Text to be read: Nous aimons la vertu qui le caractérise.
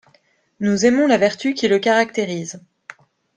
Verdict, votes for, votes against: accepted, 2, 0